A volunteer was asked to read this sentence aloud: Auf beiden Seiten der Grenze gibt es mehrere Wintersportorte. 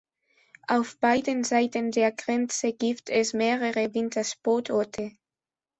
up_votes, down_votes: 2, 1